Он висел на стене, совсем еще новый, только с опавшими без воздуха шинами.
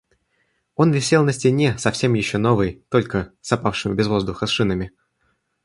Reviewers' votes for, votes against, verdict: 2, 1, accepted